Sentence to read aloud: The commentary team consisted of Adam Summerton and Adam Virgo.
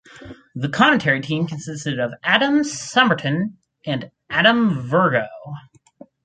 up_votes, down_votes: 4, 0